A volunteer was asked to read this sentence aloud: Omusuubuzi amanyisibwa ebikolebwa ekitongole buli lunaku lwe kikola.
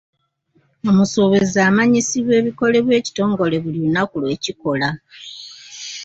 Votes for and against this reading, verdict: 2, 0, accepted